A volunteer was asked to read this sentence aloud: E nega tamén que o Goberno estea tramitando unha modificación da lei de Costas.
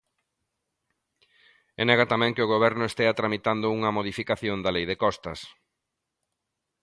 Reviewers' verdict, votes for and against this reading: accepted, 2, 0